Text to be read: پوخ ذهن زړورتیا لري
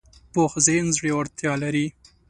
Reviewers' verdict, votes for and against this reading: accepted, 2, 0